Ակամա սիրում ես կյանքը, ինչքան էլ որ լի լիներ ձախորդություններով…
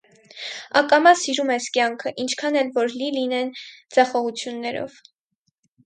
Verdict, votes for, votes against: rejected, 0, 4